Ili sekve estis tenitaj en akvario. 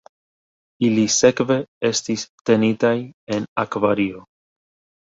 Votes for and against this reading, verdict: 1, 2, rejected